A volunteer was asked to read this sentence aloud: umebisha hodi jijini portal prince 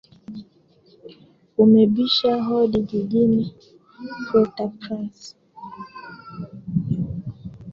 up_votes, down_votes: 0, 2